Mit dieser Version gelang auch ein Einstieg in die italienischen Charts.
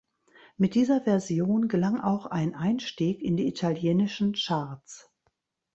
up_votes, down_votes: 2, 0